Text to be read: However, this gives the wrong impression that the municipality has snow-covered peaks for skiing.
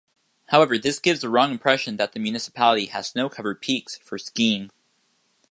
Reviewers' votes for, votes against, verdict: 2, 0, accepted